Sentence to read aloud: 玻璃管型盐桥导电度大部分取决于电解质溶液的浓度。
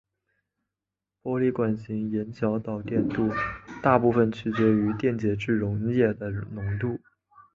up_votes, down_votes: 2, 1